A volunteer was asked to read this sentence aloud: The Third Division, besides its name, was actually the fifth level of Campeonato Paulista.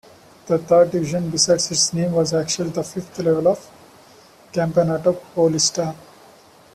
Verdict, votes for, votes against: accepted, 2, 1